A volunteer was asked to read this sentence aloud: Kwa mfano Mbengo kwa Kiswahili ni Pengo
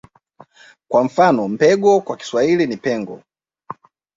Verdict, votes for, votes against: accepted, 2, 0